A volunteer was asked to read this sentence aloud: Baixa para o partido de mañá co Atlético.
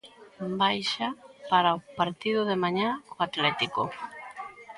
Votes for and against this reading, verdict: 0, 2, rejected